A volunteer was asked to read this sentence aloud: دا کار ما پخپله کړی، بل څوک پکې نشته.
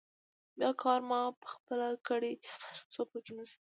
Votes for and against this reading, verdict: 2, 1, accepted